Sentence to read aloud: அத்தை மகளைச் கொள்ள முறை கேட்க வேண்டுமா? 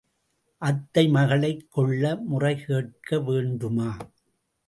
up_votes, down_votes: 2, 0